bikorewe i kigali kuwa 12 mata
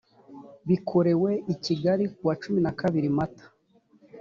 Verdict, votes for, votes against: rejected, 0, 2